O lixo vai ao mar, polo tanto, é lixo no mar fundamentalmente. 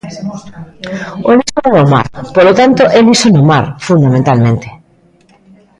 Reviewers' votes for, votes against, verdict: 0, 2, rejected